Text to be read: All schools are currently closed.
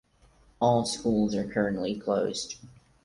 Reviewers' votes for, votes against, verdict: 4, 0, accepted